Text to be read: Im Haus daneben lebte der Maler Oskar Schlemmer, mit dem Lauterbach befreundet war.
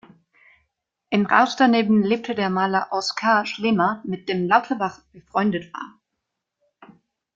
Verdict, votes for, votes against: accepted, 2, 0